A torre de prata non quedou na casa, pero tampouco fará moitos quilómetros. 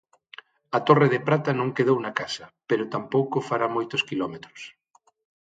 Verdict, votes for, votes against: accepted, 6, 0